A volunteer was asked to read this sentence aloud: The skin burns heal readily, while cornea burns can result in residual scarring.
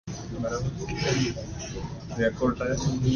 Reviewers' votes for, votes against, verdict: 0, 2, rejected